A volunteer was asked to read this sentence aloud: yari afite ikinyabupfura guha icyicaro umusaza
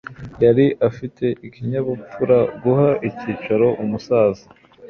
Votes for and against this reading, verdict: 2, 0, accepted